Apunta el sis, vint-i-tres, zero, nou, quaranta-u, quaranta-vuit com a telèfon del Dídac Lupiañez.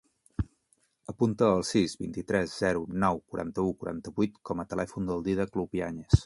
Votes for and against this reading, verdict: 5, 0, accepted